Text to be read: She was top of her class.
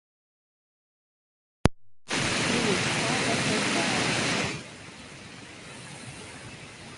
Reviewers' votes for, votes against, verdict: 0, 2, rejected